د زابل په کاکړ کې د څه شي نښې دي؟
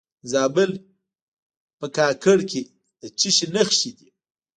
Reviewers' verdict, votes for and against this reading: rejected, 0, 2